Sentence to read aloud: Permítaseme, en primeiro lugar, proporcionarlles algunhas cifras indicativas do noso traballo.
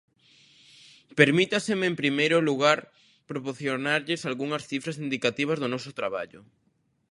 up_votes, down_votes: 1, 2